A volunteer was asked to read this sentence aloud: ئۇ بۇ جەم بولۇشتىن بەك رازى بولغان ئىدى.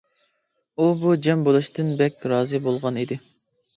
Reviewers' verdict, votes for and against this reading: accepted, 2, 0